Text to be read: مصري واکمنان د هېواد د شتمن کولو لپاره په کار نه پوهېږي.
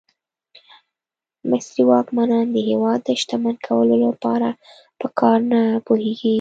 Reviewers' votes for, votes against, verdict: 2, 0, accepted